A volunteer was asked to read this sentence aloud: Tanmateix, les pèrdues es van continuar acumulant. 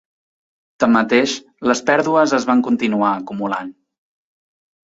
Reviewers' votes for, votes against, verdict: 3, 0, accepted